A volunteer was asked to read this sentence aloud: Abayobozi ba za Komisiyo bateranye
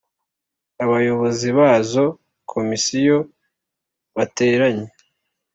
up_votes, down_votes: 4, 0